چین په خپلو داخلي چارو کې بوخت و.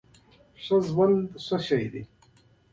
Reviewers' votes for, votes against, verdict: 1, 2, rejected